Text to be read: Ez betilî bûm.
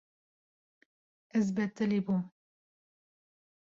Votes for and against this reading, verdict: 2, 0, accepted